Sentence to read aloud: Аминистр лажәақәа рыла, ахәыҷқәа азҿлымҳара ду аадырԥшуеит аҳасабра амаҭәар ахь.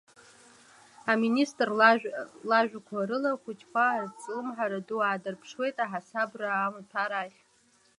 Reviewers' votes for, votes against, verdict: 2, 0, accepted